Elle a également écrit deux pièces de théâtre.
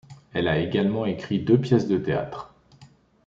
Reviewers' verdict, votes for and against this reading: accepted, 2, 0